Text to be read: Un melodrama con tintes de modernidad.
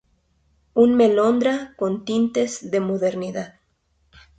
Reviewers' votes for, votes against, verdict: 0, 2, rejected